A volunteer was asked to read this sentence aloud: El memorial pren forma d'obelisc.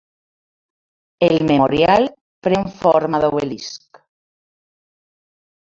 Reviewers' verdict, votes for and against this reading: rejected, 1, 2